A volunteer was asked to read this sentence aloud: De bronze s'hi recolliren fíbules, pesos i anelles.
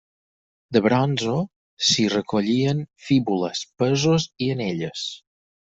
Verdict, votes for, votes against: rejected, 0, 4